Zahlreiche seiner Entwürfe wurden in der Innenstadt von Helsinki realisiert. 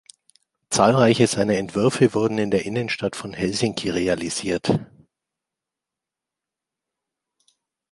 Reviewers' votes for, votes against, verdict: 2, 0, accepted